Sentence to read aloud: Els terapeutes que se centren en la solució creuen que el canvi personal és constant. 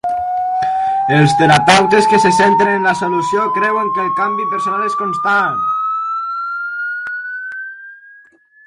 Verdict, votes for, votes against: rejected, 0, 2